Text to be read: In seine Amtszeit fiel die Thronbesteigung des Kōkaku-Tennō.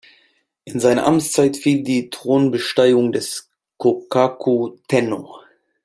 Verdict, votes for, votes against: accepted, 2, 0